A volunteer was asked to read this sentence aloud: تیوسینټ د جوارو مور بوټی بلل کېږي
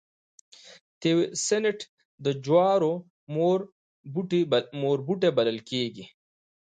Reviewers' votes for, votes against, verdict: 1, 2, rejected